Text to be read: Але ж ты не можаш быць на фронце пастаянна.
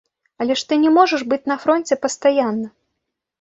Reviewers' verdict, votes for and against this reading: accepted, 3, 0